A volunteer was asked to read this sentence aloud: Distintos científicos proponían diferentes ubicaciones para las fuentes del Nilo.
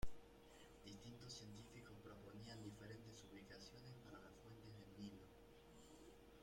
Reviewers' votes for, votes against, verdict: 0, 2, rejected